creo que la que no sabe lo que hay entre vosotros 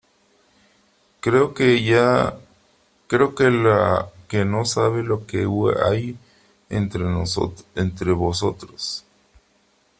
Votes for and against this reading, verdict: 0, 3, rejected